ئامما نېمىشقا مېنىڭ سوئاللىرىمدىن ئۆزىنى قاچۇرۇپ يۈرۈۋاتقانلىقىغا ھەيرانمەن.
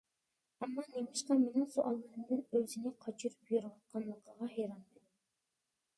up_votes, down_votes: 0, 2